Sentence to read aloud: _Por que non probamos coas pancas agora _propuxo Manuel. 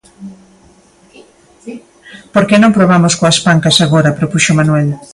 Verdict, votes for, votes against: rejected, 0, 2